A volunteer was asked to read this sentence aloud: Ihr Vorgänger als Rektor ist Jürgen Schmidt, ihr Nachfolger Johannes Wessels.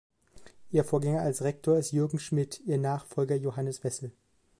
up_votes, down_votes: 0, 2